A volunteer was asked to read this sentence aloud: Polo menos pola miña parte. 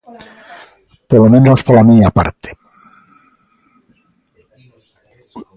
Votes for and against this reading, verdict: 0, 2, rejected